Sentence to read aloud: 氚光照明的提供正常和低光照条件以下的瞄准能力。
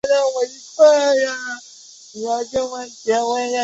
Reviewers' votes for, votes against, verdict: 3, 0, accepted